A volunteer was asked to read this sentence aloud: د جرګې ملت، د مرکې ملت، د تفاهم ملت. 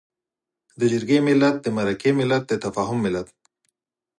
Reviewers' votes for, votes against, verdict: 4, 0, accepted